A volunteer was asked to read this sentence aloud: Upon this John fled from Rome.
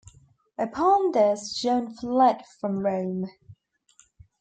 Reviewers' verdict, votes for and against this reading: rejected, 0, 2